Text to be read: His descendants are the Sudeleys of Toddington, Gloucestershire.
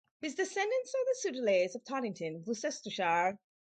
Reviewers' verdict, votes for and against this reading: rejected, 2, 2